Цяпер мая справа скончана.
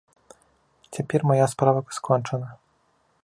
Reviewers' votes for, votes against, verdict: 2, 0, accepted